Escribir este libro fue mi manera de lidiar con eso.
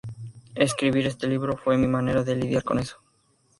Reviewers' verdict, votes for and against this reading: accepted, 2, 0